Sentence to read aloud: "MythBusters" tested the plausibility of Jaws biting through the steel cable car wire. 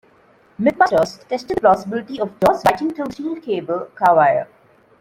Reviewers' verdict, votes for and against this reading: rejected, 1, 2